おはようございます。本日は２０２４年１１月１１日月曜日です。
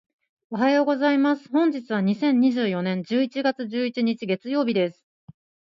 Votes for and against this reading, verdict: 0, 2, rejected